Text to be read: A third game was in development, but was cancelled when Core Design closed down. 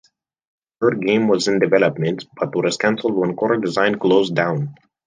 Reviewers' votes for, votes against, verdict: 1, 2, rejected